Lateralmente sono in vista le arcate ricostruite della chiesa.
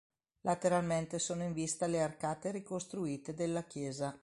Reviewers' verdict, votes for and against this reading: accepted, 2, 0